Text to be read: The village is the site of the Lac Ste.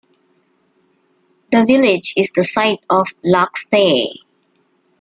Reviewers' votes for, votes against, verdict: 0, 2, rejected